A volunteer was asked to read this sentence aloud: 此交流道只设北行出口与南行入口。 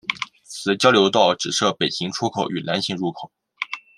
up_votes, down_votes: 2, 0